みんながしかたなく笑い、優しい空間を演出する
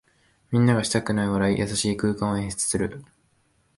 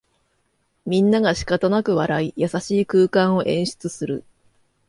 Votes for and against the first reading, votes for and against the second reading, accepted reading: 1, 2, 2, 0, second